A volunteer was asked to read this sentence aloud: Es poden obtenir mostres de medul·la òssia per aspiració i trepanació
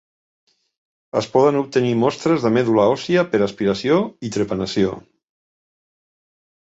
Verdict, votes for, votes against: accepted, 2, 0